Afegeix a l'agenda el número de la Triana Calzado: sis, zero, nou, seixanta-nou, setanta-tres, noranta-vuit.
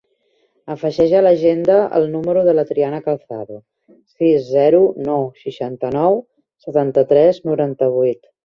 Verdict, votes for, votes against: accepted, 4, 0